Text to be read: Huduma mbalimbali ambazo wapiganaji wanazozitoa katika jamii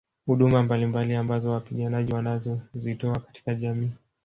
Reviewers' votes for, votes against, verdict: 1, 2, rejected